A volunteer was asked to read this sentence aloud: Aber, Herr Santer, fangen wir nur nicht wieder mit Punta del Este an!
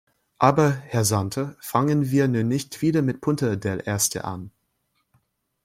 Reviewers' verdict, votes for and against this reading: rejected, 1, 2